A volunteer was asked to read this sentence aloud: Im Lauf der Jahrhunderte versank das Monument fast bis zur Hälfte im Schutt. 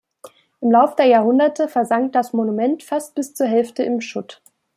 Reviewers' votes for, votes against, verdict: 2, 0, accepted